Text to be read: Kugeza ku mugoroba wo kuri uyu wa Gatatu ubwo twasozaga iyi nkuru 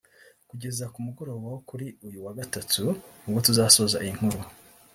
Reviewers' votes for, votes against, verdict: 0, 3, rejected